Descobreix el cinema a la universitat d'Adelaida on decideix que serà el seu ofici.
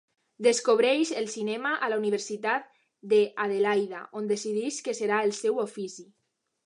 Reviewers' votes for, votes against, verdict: 1, 2, rejected